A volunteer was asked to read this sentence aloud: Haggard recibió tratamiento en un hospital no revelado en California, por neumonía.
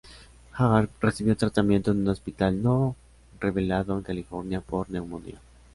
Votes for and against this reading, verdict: 0, 2, rejected